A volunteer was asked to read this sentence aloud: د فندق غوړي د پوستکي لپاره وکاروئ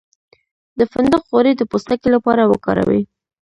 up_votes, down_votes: 1, 2